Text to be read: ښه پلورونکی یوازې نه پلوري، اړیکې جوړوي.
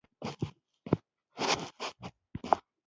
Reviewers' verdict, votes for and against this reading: rejected, 1, 2